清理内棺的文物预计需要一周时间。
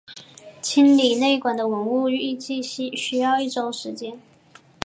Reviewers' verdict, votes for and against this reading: accepted, 3, 1